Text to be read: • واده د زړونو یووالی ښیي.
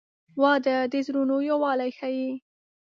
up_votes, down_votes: 3, 0